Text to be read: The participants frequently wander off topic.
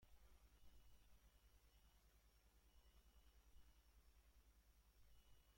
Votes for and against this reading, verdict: 0, 3, rejected